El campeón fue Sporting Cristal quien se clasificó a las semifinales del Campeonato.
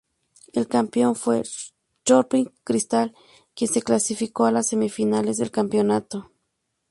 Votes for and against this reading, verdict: 0, 2, rejected